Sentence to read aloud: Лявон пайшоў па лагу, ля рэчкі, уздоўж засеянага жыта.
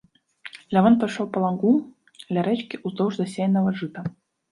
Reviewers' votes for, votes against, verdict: 0, 2, rejected